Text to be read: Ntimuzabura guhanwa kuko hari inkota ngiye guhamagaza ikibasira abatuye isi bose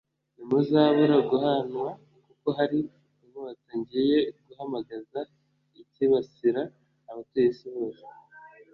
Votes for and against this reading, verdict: 2, 1, accepted